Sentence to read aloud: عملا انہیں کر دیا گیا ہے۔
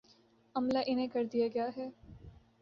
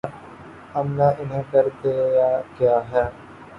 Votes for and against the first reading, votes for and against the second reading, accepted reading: 2, 0, 1, 2, first